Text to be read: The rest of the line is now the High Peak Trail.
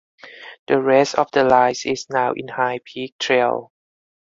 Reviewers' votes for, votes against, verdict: 2, 4, rejected